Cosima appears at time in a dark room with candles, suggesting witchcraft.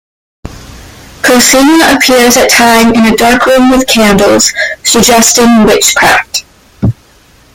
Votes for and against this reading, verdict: 1, 2, rejected